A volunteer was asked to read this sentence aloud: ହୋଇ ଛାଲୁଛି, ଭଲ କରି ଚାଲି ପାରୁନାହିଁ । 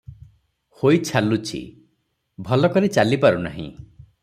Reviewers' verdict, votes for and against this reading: accepted, 3, 0